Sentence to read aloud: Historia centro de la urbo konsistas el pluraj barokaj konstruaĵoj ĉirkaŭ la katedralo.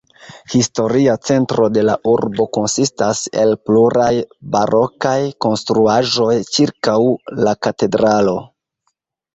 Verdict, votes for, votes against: rejected, 1, 2